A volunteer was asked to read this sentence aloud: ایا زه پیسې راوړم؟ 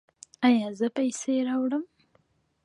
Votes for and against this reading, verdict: 2, 0, accepted